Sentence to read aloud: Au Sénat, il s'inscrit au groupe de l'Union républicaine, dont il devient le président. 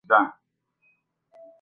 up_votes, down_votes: 0, 2